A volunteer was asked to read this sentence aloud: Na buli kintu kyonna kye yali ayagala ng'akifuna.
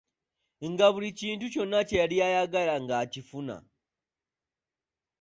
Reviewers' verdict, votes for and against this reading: rejected, 0, 2